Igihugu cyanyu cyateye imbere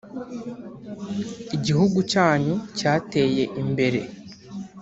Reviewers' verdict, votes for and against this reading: accepted, 2, 0